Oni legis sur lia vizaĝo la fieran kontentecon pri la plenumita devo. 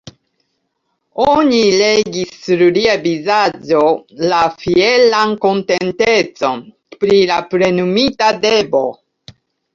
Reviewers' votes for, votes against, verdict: 0, 2, rejected